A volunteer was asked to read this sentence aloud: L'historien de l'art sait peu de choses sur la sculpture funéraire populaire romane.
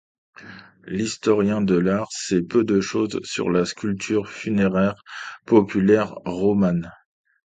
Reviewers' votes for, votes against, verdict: 2, 0, accepted